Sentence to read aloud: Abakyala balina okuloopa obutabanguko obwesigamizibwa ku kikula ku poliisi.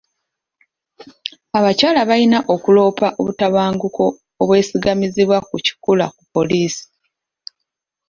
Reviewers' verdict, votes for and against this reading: accepted, 2, 0